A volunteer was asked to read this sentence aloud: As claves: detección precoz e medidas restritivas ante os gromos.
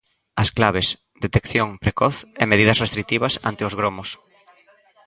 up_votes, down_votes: 2, 0